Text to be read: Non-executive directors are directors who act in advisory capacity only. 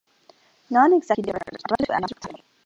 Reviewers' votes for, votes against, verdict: 0, 2, rejected